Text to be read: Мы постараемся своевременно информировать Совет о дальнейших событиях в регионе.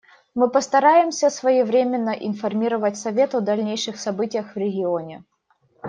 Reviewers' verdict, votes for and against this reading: accepted, 2, 0